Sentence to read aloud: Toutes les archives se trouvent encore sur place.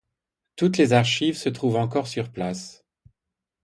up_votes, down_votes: 2, 0